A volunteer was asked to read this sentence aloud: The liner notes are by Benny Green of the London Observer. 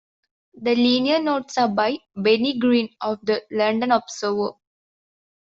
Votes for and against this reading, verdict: 1, 2, rejected